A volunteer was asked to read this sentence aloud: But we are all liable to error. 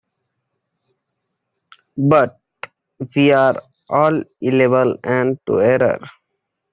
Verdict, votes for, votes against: rejected, 0, 2